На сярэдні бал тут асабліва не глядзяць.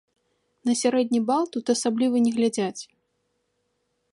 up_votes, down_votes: 3, 0